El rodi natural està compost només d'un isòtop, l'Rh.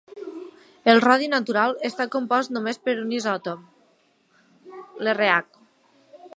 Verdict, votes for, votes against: rejected, 1, 3